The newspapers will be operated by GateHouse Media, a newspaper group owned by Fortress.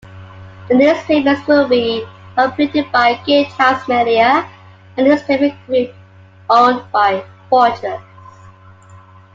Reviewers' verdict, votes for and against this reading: rejected, 0, 2